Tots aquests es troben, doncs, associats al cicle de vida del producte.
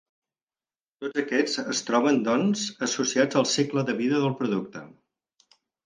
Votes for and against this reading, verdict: 4, 0, accepted